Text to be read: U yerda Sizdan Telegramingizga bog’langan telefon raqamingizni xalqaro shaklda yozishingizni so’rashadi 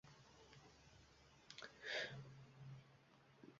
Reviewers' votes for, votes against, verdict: 0, 2, rejected